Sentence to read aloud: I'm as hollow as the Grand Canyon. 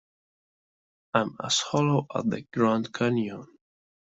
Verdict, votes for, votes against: rejected, 1, 2